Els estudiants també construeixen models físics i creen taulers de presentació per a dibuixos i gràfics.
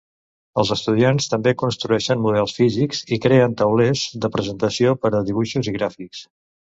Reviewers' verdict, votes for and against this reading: accepted, 2, 0